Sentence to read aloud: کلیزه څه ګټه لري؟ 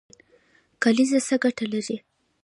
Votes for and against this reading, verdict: 1, 2, rejected